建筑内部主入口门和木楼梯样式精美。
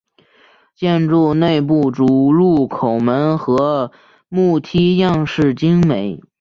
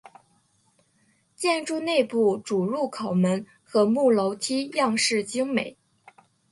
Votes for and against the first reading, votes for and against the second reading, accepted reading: 1, 4, 2, 0, second